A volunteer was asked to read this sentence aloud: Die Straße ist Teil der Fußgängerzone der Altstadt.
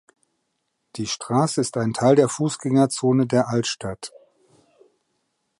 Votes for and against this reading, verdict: 0, 2, rejected